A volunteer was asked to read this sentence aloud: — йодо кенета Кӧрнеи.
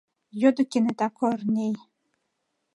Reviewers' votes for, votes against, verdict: 2, 1, accepted